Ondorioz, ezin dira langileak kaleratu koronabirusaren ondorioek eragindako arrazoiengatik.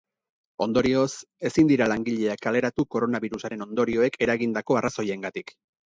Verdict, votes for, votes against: accepted, 4, 0